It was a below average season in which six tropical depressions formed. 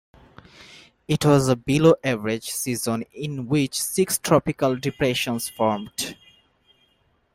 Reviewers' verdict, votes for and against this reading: accepted, 2, 0